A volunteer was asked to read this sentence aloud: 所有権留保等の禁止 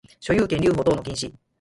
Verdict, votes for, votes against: accepted, 4, 0